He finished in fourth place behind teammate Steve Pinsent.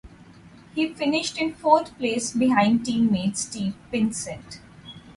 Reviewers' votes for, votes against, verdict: 0, 2, rejected